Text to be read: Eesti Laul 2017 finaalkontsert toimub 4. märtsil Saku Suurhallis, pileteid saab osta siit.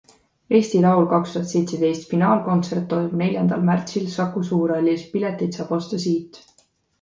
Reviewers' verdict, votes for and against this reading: rejected, 0, 2